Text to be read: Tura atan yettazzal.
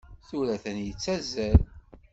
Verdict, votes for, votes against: accepted, 2, 0